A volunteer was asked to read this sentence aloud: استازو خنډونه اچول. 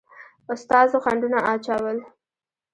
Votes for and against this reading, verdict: 1, 2, rejected